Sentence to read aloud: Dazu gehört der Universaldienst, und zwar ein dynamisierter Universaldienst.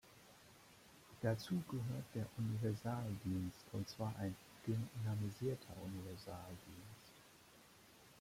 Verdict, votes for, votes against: rejected, 1, 2